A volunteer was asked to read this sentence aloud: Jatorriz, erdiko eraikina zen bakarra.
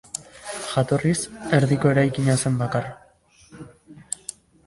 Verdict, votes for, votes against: accepted, 2, 1